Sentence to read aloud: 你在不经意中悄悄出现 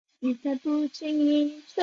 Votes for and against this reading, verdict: 0, 2, rejected